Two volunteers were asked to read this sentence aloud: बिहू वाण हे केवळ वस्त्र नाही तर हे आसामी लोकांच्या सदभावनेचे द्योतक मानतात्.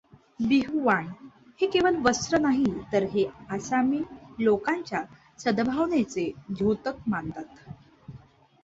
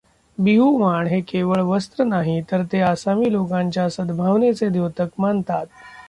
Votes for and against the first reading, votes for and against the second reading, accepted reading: 2, 0, 0, 2, first